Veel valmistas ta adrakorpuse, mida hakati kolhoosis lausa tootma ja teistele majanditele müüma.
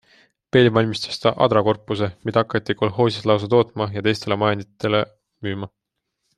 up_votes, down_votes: 2, 0